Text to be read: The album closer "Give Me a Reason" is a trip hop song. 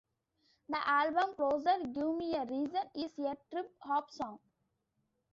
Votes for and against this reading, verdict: 0, 2, rejected